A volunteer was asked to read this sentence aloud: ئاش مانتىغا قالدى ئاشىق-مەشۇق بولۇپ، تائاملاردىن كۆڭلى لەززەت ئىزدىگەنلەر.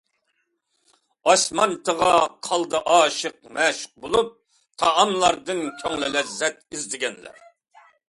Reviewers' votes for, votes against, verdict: 2, 0, accepted